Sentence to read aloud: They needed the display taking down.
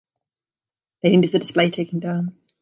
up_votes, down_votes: 2, 3